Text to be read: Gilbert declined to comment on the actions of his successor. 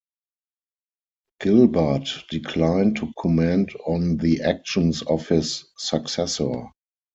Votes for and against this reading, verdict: 2, 4, rejected